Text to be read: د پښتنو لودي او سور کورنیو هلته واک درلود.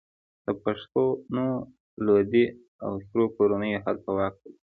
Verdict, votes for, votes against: accepted, 2, 0